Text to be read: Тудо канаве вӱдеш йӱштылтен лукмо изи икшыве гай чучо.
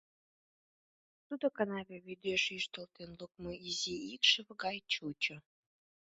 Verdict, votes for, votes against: accepted, 2, 0